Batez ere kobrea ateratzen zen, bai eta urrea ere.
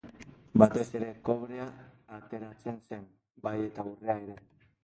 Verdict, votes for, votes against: rejected, 0, 3